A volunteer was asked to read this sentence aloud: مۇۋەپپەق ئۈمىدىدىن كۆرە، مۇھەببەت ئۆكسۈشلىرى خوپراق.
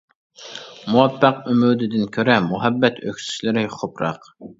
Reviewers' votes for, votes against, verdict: 1, 2, rejected